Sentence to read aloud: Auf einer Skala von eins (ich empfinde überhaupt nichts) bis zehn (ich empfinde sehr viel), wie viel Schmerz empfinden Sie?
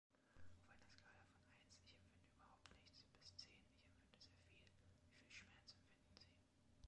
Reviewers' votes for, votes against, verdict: 0, 2, rejected